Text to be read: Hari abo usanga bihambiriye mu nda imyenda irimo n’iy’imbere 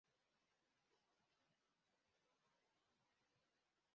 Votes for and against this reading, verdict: 0, 2, rejected